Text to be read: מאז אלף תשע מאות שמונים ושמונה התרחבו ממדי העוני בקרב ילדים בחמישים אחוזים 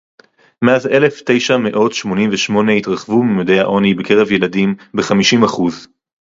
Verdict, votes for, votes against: rejected, 2, 2